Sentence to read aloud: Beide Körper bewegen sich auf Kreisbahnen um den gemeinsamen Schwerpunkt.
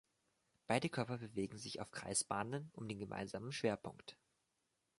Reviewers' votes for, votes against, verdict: 2, 0, accepted